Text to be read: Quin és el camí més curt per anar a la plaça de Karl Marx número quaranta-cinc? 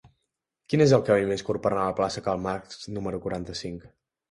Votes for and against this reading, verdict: 0, 2, rejected